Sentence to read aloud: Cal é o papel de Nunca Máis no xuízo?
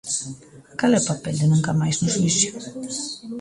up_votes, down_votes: 2, 0